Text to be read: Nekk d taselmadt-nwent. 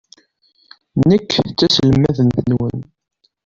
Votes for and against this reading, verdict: 2, 0, accepted